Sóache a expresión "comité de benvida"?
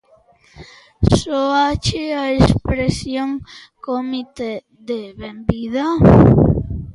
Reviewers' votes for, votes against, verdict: 2, 1, accepted